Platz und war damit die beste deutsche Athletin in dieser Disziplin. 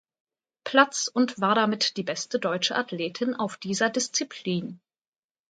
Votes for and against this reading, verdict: 0, 3, rejected